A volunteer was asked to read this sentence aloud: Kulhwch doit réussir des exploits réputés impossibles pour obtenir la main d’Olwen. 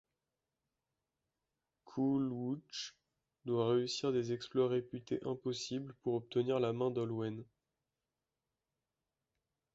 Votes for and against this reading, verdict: 1, 2, rejected